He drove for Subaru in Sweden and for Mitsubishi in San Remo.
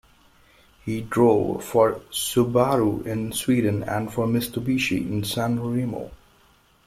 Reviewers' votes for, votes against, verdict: 1, 2, rejected